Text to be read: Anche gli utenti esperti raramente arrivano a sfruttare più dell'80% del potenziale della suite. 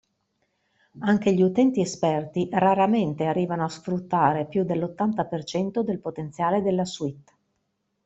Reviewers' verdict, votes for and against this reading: rejected, 0, 2